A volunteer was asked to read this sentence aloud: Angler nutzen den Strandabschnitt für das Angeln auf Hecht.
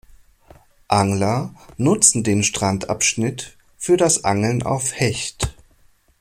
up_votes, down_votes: 2, 0